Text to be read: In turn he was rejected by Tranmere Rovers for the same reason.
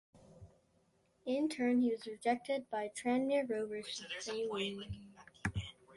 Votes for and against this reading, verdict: 1, 3, rejected